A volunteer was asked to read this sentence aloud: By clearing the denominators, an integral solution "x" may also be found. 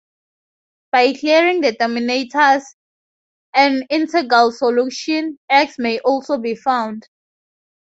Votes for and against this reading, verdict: 2, 2, rejected